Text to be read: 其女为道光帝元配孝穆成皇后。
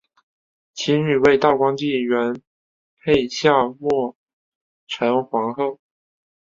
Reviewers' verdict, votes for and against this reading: rejected, 0, 2